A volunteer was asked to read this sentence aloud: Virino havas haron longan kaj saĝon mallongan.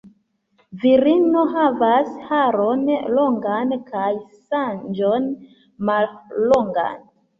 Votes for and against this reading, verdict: 0, 2, rejected